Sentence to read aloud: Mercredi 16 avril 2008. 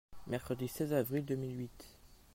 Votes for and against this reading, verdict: 0, 2, rejected